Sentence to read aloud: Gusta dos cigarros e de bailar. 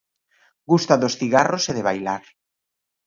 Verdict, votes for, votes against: accepted, 9, 1